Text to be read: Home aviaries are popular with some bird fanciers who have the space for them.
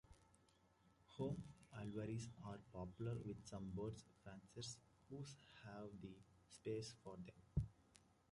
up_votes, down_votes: 0, 2